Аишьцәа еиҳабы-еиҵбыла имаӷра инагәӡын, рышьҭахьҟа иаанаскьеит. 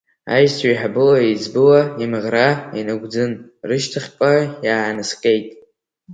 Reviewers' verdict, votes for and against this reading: accepted, 3, 2